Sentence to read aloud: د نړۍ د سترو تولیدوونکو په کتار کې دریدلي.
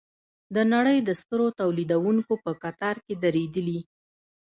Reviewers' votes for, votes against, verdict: 2, 0, accepted